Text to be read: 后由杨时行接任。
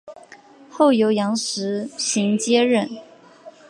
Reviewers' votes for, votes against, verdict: 2, 0, accepted